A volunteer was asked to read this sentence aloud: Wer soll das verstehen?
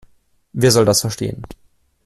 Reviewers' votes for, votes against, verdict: 2, 0, accepted